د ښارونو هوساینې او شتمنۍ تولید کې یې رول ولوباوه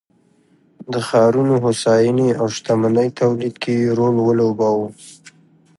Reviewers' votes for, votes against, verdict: 2, 0, accepted